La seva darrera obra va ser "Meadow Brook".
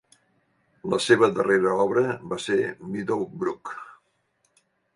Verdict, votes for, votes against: accepted, 2, 0